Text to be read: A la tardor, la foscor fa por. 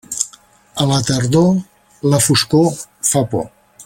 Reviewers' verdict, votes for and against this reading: accepted, 3, 0